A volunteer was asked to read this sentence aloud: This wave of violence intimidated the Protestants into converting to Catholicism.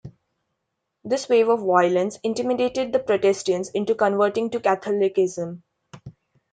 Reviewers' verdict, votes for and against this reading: accepted, 2, 1